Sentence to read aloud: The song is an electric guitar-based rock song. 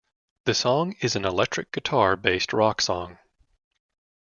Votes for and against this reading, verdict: 2, 0, accepted